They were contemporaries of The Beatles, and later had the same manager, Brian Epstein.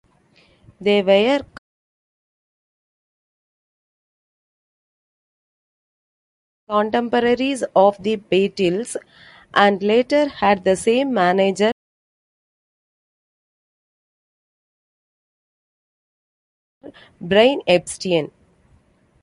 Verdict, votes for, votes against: rejected, 0, 2